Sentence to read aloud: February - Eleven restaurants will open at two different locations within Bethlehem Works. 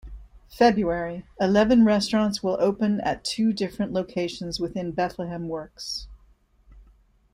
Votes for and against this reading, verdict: 2, 0, accepted